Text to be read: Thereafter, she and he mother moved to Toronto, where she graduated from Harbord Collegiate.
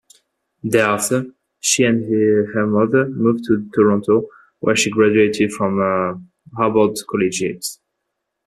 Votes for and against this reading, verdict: 2, 0, accepted